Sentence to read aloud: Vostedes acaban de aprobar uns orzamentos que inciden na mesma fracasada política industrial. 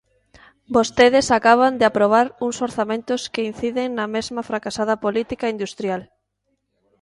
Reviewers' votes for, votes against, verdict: 2, 0, accepted